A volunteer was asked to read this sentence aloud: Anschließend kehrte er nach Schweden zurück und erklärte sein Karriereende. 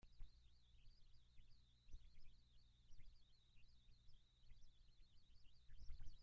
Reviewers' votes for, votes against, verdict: 0, 2, rejected